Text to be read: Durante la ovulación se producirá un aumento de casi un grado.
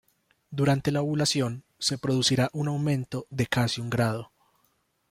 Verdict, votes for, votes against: accepted, 2, 1